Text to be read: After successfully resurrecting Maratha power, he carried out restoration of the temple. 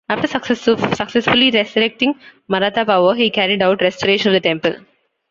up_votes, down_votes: 0, 2